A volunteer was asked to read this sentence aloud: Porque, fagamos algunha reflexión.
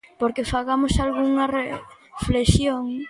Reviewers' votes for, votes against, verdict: 0, 2, rejected